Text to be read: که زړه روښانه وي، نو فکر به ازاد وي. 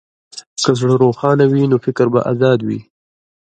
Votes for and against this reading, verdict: 2, 1, accepted